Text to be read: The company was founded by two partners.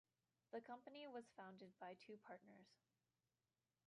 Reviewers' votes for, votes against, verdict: 2, 0, accepted